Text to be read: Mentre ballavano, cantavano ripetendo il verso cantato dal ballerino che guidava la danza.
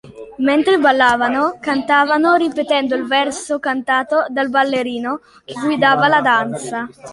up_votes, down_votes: 1, 2